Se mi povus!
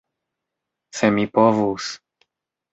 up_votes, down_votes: 1, 2